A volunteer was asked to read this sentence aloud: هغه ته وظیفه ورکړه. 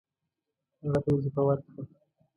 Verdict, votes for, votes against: rejected, 1, 2